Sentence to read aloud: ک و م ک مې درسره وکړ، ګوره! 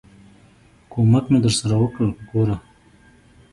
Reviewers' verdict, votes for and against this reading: rejected, 0, 2